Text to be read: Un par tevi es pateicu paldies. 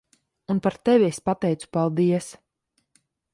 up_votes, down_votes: 2, 0